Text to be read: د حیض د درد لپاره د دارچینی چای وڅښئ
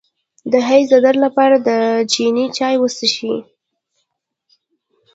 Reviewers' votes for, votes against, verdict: 0, 2, rejected